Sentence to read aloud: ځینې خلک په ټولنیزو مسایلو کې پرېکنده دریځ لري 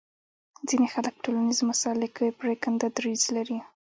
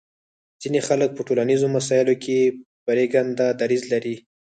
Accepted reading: first